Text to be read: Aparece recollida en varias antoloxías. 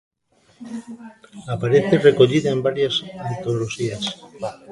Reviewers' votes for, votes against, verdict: 0, 2, rejected